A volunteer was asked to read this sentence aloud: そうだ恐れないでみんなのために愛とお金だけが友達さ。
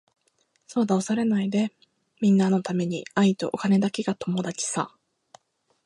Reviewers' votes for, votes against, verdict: 2, 1, accepted